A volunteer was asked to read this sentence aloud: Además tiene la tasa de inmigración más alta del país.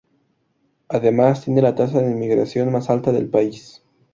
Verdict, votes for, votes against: accepted, 4, 0